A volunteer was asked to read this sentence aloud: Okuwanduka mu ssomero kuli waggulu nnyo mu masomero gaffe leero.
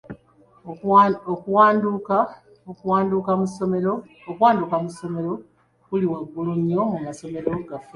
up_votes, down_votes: 0, 2